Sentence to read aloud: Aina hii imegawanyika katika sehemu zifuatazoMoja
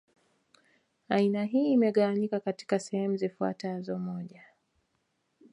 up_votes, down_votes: 1, 2